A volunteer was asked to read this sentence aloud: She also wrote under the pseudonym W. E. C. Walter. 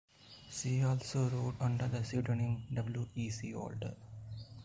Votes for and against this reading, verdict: 2, 0, accepted